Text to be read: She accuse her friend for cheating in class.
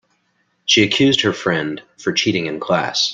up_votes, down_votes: 2, 1